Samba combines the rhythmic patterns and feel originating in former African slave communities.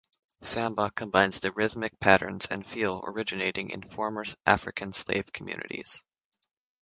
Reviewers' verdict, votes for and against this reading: rejected, 0, 3